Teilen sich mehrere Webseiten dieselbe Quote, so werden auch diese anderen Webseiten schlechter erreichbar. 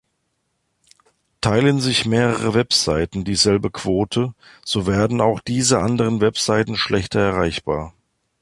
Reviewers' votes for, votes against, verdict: 2, 0, accepted